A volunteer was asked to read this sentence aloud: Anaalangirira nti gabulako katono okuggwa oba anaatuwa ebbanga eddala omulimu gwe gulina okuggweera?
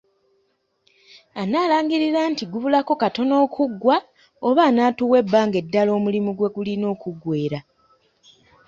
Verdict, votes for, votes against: accepted, 2, 0